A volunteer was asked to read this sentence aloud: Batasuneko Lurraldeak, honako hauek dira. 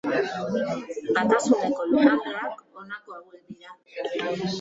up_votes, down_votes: 1, 2